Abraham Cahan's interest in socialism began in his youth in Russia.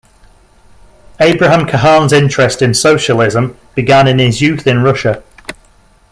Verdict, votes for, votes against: accepted, 2, 0